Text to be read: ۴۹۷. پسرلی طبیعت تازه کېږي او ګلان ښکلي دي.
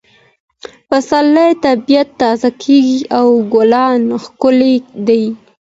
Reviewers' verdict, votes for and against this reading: rejected, 0, 2